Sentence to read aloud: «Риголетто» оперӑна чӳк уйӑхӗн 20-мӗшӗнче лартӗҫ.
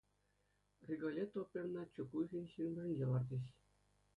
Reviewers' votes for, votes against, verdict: 0, 2, rejected